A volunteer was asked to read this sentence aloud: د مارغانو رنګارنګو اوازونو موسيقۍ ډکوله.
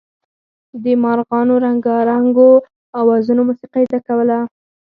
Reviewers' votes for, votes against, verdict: 2, 4, rejected